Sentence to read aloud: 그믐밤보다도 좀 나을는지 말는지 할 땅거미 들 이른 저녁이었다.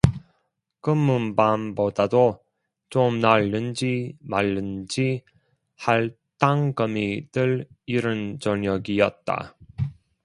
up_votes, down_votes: 1, 2